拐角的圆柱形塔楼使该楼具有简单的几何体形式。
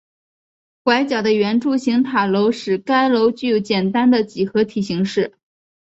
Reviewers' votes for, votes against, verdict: 4, 0, accepted